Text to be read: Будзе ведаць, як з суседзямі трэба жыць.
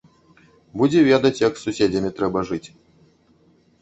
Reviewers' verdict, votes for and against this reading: rejected, 0, 2